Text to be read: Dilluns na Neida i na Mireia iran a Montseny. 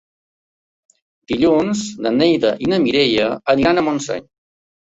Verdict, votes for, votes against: rejected, 0, 2